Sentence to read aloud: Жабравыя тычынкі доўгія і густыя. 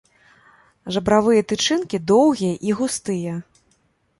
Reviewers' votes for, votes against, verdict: 1, 2, rejected